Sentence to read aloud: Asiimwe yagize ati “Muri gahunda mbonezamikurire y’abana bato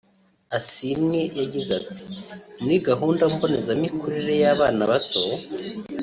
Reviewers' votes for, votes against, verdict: 2, 0, accepted